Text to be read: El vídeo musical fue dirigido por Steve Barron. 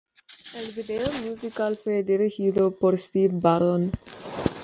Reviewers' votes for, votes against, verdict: 2, 1, accepted